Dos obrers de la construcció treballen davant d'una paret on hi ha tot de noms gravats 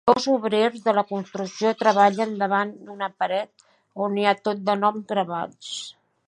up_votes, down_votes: 2, 1